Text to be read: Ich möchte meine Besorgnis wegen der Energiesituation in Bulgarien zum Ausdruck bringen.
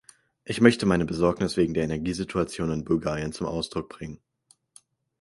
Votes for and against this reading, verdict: 4, 2, accepted